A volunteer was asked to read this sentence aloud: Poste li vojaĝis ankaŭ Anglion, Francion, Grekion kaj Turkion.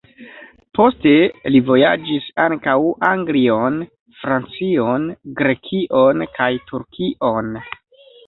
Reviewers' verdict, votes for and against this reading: accepted, 2, 1